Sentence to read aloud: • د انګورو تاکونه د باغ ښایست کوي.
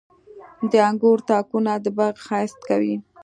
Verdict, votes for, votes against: accepted, 2, 0